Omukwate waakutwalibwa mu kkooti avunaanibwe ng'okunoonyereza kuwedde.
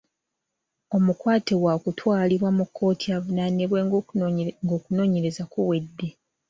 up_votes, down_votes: 1, 2